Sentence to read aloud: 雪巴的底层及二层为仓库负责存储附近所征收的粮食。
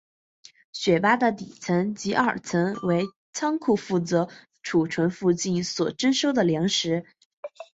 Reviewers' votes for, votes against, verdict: 6, 1, accepted